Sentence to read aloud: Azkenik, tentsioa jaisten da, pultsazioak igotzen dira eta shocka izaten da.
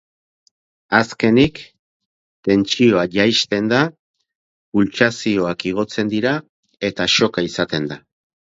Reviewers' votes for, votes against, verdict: 4, 0, accepted